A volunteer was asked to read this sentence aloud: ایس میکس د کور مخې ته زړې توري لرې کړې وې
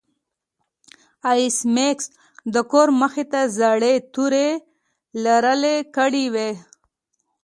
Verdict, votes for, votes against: rejected, 1, 2